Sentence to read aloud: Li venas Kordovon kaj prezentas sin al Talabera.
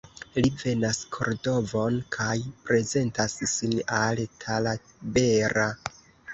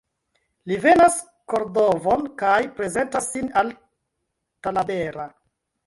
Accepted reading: first